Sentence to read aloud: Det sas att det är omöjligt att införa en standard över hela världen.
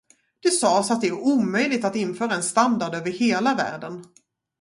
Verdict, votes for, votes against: accepted, 4, 0